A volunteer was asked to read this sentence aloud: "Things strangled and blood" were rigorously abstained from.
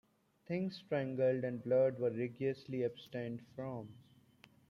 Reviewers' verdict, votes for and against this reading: accepted, 2, 0